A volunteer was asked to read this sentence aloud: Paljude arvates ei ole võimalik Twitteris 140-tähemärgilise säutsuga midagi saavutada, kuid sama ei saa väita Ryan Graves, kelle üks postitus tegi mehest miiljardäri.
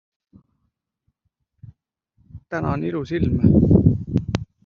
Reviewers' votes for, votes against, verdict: 0, 2, rejected